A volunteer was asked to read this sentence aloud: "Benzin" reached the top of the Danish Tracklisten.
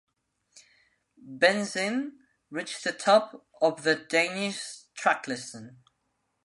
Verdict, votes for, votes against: accepted, 2, 1